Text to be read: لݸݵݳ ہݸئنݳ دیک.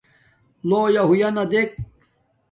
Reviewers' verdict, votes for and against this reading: rejected, 1, 2